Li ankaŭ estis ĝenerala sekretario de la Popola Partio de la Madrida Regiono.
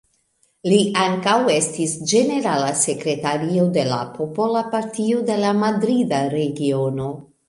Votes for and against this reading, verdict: 1, 2, rejected